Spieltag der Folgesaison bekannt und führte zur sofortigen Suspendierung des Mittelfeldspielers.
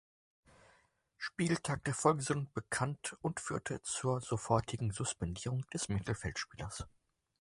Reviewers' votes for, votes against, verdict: 0, 4, rejected